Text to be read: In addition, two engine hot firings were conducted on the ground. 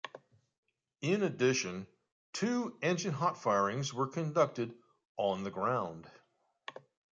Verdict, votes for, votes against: accepted, 2, 0